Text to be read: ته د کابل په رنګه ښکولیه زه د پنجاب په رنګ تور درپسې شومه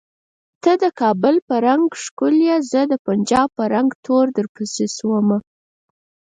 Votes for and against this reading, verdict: 0, 4, rejected